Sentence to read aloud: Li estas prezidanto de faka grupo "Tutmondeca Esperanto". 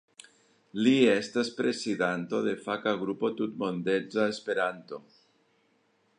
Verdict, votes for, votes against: rejected, 0, 2